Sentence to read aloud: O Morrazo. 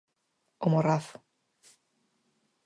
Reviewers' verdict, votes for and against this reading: accepted, 4, 0